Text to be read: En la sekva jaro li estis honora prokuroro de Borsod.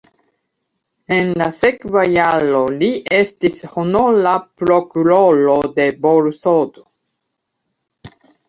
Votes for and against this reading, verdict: 0, 2, rejected